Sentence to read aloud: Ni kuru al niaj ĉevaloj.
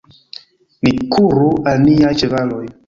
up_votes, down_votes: 1, 2